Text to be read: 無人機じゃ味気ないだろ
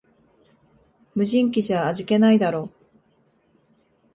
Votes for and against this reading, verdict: 2, 0, accepted